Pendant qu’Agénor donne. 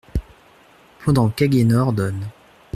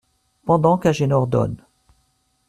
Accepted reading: second